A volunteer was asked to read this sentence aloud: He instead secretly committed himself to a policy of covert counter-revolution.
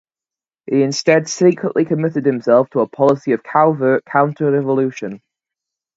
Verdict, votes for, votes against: rejected, 2, 2